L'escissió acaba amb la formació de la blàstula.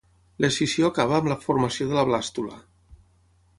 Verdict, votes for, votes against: accepted, 6, 0